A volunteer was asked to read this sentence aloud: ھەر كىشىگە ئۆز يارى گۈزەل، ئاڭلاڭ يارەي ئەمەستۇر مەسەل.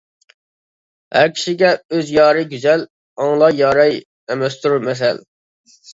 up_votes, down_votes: 0, 2